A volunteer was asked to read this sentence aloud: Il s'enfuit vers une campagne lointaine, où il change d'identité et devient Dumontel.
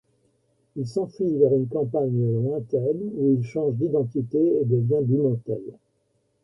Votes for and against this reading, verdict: 3, 0, accepted